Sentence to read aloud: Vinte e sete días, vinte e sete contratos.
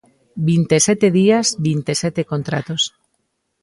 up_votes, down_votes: 3, 0